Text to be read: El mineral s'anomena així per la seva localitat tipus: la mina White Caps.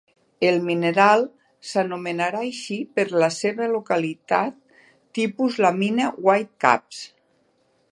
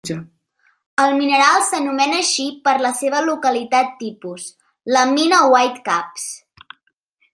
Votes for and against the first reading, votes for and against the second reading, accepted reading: 1, 3, 3, 1, second